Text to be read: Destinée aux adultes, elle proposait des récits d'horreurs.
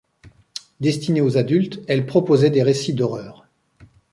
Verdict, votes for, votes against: accepted, 2, 0